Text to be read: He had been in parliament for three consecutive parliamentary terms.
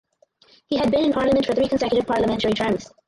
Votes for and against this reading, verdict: 0, 2, rejected